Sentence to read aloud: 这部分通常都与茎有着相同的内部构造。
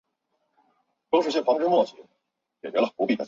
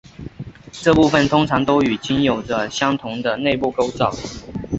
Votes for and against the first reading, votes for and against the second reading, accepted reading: 0, 4, 4, 0, second